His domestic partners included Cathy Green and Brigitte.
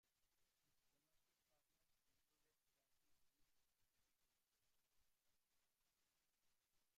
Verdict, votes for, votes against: rejected, 0, 2